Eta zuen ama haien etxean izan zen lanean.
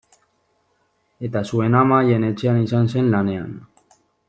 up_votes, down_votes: 2, 0